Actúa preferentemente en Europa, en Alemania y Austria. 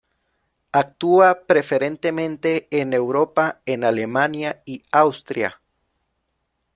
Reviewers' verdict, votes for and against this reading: accepted, 2, 0